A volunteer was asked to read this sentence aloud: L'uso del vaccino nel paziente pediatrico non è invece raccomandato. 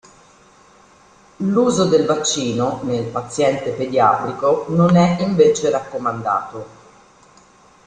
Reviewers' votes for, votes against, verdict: 2, 0, accepted